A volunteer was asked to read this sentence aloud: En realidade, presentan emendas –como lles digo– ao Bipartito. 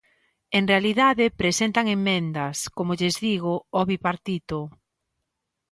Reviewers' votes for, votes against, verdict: 0, 2, rejected